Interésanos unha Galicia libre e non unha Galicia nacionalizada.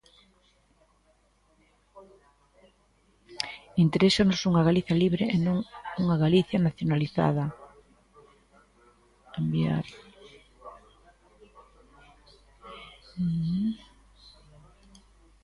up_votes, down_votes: 0, 2